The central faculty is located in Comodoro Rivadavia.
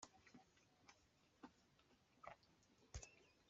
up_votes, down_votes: 0, 2